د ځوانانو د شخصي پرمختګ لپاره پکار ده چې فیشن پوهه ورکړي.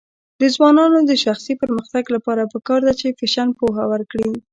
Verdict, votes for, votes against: rejected, 1, 2